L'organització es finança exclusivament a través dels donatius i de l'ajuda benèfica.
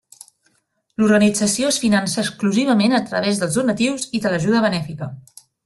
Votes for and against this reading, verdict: 3, 0, accepted